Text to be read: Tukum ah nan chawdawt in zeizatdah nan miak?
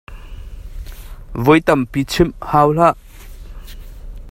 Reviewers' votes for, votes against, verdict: 0, 2, rejected